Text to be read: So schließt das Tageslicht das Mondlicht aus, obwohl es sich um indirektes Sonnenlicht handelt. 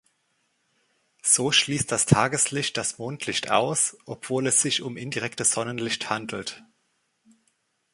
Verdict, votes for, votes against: accepted, 2, 0